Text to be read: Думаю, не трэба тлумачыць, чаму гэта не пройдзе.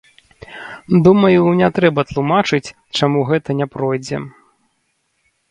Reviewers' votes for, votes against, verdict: 2, 0, accepted